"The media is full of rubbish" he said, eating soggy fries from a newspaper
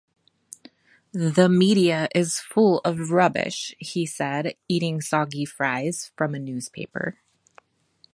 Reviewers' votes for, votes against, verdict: 2, 0, accepted